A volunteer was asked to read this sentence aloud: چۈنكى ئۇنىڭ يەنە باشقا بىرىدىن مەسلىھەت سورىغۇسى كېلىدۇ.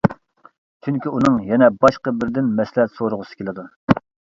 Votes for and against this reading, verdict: 2, 0, accepted